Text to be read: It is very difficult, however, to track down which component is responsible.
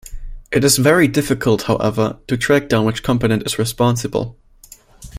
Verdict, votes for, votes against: accepted, 2, 0